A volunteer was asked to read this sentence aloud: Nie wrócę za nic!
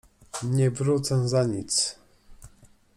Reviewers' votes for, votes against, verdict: 2, 0, accepted